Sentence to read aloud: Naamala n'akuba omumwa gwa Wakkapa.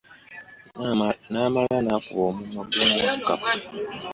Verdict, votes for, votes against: accepted, 2, 0